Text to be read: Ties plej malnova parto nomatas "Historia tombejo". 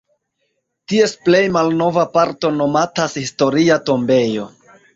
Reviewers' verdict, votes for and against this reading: rejected, 1, 2